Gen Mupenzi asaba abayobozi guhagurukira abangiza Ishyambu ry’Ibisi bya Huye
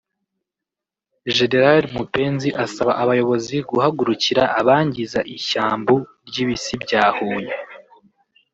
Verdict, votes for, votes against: rejected, 0, 2